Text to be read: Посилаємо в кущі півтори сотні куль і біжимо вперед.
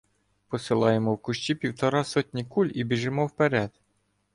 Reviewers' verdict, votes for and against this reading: rejected, 0, 2